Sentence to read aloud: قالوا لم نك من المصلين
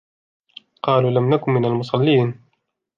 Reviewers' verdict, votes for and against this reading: accepted, 2, 1